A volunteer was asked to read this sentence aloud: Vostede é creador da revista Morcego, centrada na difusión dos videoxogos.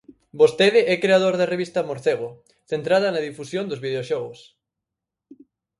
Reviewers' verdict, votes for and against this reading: accepted, 4, 0